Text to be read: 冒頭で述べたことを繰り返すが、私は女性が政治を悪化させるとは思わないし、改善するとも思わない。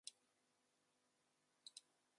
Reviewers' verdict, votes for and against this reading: rejected, 0, 2